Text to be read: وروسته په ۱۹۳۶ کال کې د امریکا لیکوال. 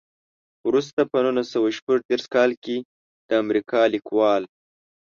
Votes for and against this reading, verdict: 0, 2, rejected